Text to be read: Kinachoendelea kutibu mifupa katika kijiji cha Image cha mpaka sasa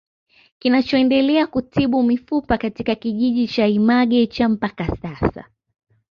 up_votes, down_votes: 2, 1